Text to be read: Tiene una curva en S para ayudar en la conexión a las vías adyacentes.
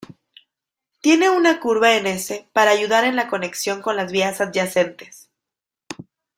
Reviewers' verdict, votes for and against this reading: rejected, 1, 2